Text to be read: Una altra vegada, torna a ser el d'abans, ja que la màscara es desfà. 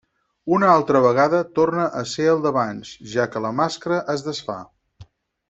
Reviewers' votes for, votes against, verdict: 4, 0, accepted